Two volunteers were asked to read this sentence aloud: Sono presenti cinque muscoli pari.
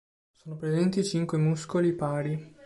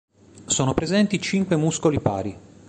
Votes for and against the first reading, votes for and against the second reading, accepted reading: 0, 2, 3, 0, second